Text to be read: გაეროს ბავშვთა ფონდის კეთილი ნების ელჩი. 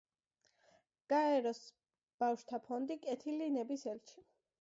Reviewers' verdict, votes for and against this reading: rejected, 0, 2